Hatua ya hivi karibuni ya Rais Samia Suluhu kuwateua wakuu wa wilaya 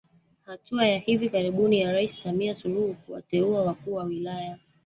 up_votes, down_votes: 0, 2